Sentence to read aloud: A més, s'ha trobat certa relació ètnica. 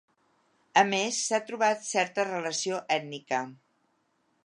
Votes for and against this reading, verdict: 3, 0, accepted